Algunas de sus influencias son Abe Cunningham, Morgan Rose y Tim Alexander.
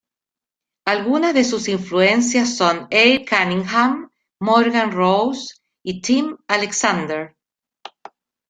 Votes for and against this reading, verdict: 2, 0, accepted